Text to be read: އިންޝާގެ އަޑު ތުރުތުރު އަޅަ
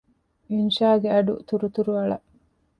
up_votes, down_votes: 2, 0